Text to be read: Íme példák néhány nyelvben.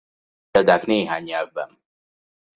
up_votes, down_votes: 0, 2